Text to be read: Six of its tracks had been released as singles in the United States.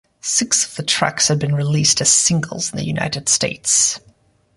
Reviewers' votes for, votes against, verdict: 1, 2, rejected